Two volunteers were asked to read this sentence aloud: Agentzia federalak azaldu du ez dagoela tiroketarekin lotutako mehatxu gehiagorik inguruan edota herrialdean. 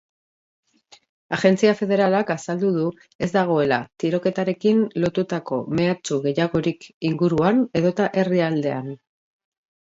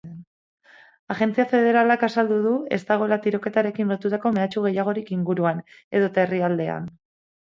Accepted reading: first